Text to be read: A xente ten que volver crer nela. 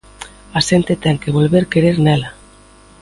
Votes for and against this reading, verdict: 2, 1, accepted